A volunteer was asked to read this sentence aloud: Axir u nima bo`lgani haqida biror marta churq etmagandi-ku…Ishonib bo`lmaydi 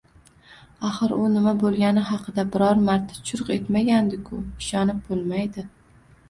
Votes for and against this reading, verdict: 1, 2, rejected